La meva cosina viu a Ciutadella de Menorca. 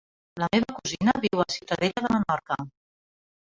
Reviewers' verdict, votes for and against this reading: rejected, 1, 4